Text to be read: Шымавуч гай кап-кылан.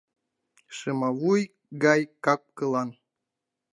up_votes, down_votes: 0, 2